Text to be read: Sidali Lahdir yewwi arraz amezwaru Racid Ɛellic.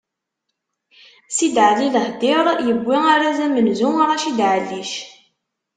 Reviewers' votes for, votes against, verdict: 1, 2, rejected